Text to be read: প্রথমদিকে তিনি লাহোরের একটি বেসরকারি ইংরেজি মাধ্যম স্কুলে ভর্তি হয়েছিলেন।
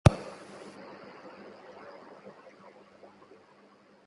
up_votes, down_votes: 0, 9